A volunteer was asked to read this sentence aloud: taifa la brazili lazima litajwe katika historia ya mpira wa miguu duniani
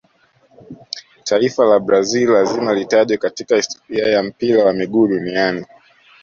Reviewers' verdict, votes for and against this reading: accepted, 2, 0